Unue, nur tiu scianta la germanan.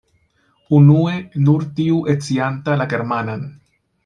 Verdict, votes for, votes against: rejected, 0, 2